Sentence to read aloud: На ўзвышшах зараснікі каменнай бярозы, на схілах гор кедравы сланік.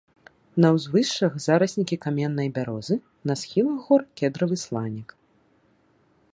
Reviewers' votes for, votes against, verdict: 2, 0, accepted